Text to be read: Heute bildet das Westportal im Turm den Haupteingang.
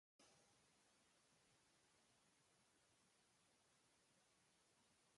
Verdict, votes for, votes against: rejected, 0, 4